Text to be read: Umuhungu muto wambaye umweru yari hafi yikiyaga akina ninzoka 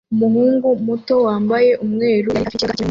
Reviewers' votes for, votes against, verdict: 0, 2, rejected